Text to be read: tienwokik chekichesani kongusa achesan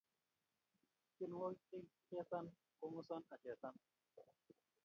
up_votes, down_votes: 0, 2